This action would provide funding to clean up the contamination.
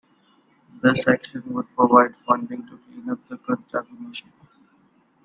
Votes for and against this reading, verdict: 1, 2, rejected